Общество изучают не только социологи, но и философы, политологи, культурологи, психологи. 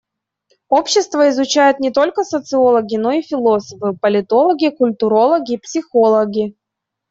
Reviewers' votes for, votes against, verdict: 2, 0, accepted